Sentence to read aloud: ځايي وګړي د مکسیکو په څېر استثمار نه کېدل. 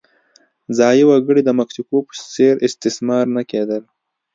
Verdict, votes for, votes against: rejected, 0, 2